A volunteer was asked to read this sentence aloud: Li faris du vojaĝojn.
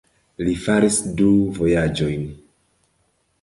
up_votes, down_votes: 2, 0